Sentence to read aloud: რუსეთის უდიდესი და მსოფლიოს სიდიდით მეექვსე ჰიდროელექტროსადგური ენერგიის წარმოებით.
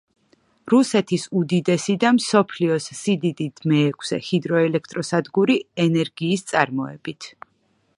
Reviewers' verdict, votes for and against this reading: accepted, 2, 0